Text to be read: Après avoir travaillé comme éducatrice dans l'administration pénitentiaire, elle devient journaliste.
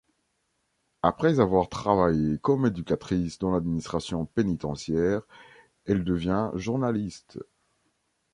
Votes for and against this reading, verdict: 2, 0, accepted